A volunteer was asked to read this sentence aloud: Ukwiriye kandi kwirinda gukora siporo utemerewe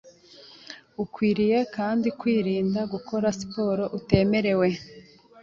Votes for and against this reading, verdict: 2, 0, accepted